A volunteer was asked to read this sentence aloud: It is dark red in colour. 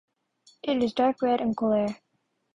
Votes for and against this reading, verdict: 3, 0, accepted